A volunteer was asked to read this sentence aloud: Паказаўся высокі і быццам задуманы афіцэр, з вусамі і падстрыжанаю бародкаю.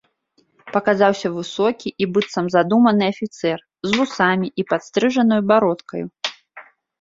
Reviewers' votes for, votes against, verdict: 2, 1, accepted